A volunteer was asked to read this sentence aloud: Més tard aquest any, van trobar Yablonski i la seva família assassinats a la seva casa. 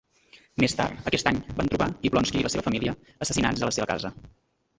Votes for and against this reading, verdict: 2, 1, accepted